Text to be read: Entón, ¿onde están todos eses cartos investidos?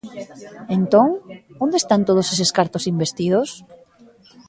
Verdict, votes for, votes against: accepted, 2, 0